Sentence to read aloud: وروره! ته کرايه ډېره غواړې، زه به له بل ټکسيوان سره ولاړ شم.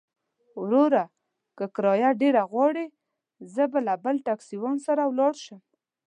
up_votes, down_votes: 1, 2